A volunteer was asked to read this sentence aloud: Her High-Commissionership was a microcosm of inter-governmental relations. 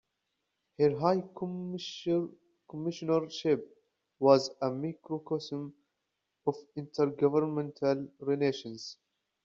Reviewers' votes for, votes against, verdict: 0, 2, rejected